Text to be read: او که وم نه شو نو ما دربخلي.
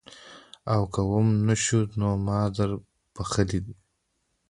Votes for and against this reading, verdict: 1, 2, rejected